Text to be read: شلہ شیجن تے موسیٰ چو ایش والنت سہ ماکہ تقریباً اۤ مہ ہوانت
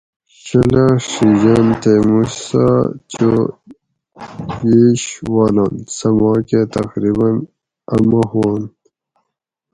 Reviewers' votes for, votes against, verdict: 2, 4, rejected